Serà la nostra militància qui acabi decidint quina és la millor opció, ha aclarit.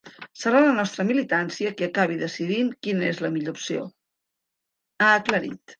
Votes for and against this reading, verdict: 4, 0, accepted